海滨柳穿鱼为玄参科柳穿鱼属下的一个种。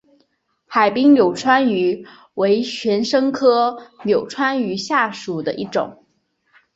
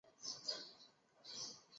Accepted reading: first